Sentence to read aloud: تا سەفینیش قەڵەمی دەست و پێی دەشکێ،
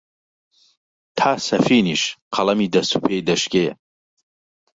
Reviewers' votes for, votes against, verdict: 3, 1, accepted